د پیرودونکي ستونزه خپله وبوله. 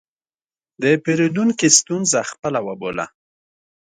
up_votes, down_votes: 2, 0